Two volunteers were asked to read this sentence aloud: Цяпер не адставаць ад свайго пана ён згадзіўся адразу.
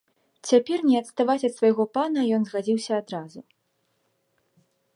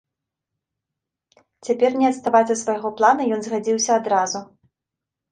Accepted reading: first